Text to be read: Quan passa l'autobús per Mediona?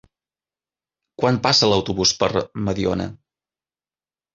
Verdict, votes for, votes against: accepted, 3, 0